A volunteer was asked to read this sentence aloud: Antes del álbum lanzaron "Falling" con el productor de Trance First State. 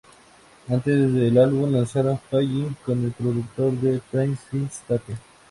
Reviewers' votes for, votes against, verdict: 2, 0, accepted